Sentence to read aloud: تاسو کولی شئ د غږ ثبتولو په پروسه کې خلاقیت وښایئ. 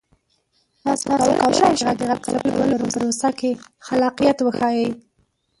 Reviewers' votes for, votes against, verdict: 0, 2, rejected